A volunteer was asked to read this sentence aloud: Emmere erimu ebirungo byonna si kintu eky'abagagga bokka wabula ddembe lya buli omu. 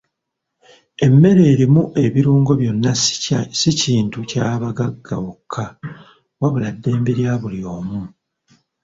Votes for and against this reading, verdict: 0, 2, rejected